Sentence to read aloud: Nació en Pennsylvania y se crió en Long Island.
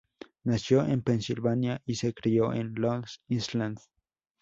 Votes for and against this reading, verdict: 0, 2, rejected